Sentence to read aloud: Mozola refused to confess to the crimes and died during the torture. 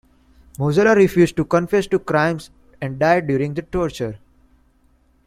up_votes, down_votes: 2, 1